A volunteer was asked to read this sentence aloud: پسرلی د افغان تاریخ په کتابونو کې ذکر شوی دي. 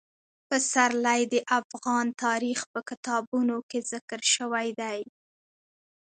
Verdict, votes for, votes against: accepted, 2, 0